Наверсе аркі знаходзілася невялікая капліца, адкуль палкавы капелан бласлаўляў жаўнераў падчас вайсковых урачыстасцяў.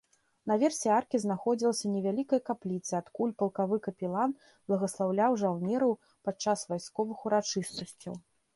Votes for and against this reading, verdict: 0, 2, rejected